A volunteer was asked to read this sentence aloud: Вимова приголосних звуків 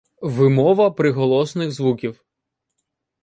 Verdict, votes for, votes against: rejected, 0, 2